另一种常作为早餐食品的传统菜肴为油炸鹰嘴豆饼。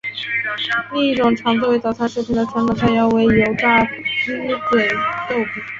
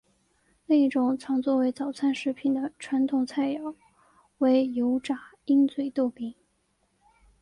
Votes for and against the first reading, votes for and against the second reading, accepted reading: 0, 2, 2, 0, second